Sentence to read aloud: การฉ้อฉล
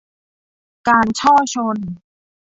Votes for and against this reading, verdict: 0, 2, rejected